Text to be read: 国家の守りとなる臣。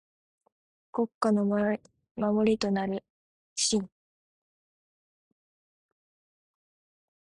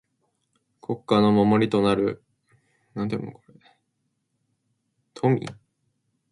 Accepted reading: second